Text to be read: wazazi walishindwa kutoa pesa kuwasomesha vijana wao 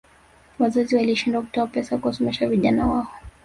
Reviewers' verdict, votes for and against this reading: rejected, 1, 2